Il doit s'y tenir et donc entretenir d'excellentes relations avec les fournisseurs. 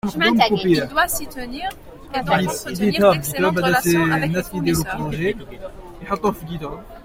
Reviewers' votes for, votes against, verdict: 0, 2, rejected